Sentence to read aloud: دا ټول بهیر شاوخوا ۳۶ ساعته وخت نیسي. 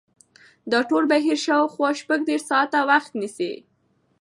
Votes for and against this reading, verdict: 0, 2, rejected